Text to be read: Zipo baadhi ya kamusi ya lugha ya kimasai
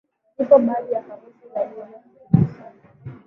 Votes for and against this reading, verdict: 1, 2, rejected